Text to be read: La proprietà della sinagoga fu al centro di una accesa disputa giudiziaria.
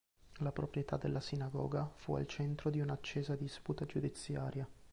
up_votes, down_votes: 2, 1